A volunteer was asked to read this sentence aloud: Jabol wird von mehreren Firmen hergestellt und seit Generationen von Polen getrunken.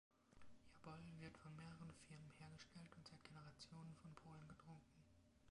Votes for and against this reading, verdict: 2, 0, accepted